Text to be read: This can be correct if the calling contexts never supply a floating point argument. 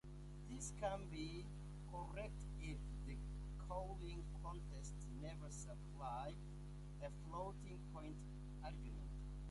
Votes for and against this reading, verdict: 0, 2, rejected